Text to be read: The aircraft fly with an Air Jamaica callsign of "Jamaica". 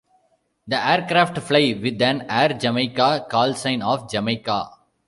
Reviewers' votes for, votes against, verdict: 2, 0, accepted